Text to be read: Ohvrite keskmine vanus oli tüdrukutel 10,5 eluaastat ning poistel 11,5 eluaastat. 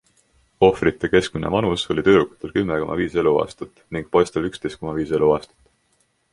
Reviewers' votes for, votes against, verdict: 0, 2, rejected